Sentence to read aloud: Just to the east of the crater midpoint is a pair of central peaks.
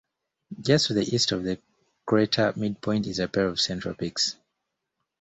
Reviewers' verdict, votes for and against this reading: accepted, 2, 1